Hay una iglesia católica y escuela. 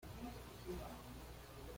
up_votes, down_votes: 1, 2